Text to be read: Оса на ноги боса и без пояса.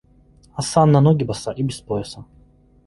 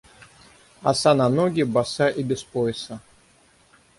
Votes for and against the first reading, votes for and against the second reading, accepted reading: 2, 0, 3, 3, first